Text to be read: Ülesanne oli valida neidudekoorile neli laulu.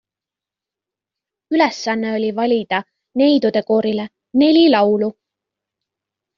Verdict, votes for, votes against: accepted, 2, 0